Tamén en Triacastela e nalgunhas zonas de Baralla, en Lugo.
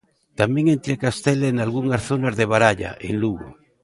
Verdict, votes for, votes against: rejected, 1, 2